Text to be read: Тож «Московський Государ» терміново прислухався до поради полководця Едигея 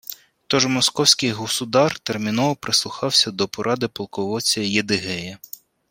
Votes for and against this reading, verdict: 1, 2, rejected